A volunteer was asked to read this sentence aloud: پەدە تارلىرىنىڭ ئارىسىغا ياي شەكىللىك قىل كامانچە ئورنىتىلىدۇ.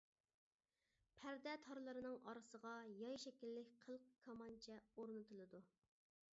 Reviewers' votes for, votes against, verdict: 0, 2, rejected